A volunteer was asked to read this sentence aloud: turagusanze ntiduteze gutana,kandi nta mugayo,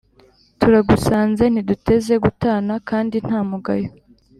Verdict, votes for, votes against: accepted, 3, 0